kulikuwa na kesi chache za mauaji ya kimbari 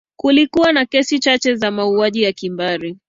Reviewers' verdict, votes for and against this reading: accepted, 3, 0